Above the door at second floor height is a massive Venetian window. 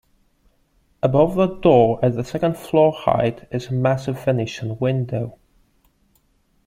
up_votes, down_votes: 2, 0